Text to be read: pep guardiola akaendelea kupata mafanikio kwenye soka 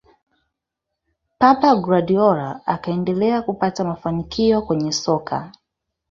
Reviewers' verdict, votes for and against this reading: rejected, 2, 3